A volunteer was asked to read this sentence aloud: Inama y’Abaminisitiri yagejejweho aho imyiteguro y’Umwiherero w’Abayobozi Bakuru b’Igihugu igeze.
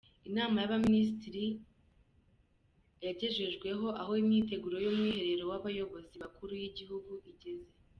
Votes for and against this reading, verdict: 2, 0, accepted